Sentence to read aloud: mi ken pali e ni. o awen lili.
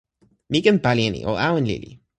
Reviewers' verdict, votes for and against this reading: accepted, 2, 1